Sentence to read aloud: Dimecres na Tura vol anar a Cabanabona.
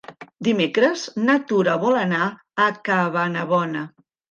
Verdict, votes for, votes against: accepted, 3, 1